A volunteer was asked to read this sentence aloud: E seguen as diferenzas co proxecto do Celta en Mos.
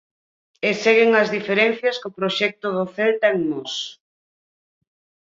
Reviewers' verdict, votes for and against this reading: rejected, 2, 4